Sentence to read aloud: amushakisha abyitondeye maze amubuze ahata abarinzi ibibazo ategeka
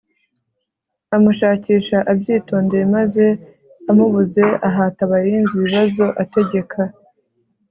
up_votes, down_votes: 2, 0